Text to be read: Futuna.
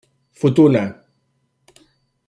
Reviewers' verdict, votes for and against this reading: accepted, 2, 0